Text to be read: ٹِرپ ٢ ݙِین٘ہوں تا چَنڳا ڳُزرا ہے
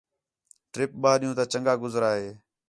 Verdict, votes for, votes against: rejected, 0, 2